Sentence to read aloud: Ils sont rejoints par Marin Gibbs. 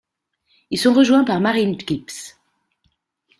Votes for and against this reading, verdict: 1, 2, rejected